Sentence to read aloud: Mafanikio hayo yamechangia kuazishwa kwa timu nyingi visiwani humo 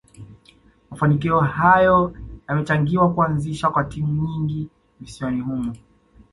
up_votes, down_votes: 2, 0